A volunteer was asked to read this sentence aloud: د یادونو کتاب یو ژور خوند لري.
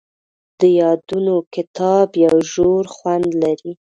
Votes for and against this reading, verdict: 0, 2, rejected